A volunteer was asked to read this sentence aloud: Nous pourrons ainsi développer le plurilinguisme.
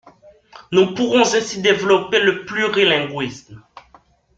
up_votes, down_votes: 0, 2